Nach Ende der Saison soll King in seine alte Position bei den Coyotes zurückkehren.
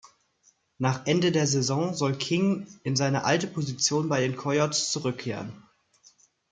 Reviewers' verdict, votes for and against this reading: accepted, 2, 0